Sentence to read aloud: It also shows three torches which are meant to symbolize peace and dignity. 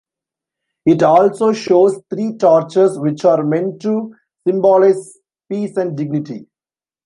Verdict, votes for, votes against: rejected, 1, 2